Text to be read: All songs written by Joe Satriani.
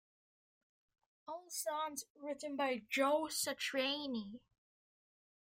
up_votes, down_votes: 1, 2